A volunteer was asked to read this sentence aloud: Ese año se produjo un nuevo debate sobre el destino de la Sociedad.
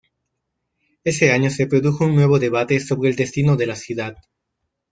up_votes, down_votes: 0, 2